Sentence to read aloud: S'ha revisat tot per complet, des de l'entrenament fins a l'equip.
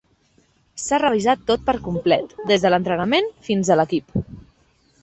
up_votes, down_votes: 3, 0